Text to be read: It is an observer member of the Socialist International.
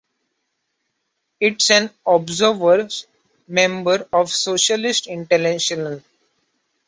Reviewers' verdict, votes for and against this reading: rejected, 1, 2